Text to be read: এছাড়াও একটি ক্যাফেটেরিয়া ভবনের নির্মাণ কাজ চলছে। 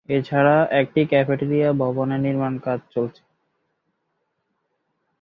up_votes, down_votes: 0, 2